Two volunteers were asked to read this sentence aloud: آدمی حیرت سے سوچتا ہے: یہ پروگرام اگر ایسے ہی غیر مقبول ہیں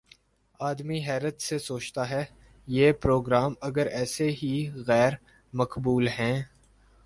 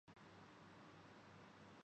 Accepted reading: first